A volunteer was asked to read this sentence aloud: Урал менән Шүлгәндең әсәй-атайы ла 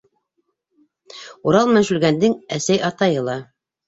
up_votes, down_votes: 2, 0